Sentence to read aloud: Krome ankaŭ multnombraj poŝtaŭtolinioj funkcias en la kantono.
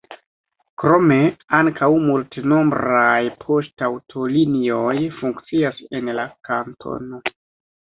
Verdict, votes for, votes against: accepted, 2, 1